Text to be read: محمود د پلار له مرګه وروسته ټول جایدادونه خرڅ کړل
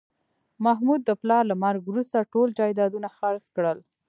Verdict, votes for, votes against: accepted, 2, 0